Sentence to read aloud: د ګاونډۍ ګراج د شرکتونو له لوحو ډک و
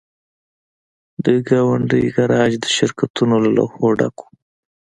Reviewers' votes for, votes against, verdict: 2, 0, accepted